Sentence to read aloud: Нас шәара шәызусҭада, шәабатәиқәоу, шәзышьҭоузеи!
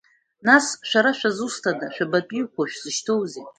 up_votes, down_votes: 1, 2